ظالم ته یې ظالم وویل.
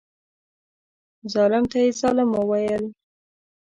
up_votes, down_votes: 1, 2